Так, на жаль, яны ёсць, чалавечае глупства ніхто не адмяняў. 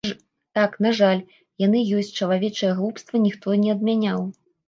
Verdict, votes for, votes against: rejected, 1, 2